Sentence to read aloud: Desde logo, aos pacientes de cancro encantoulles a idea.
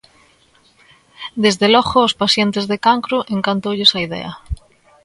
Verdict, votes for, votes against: accepted, 2, 0